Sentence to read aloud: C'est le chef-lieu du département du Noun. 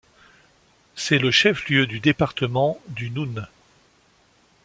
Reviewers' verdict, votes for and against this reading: accepted, 2, 0